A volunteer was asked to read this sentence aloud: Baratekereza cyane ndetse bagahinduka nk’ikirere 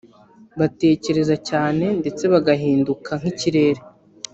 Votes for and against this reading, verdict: 2, 0, accepted